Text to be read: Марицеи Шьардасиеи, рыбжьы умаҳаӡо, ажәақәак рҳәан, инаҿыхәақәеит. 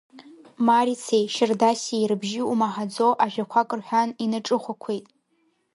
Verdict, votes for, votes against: rejected, 0, 2